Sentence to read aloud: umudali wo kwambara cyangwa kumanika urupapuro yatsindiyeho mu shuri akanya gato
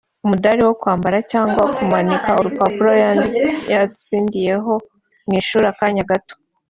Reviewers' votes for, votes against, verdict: 1, 2, rejected